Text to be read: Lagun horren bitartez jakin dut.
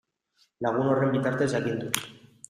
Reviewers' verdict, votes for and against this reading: rejected, 0, 2